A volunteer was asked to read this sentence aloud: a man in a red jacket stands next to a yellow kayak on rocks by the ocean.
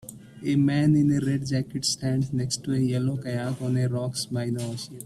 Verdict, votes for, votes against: accepted, 2, 0